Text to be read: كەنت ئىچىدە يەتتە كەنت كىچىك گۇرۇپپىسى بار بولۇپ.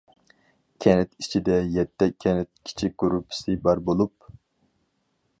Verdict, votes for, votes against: accepted, 4, 0